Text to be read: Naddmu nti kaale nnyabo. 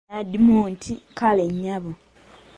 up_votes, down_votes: 1, 2